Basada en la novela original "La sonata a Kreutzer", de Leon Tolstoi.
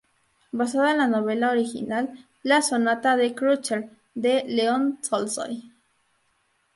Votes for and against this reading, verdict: 0, 2, rejected